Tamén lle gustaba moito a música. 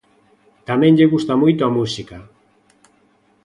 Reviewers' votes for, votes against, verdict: 0, 2, rejected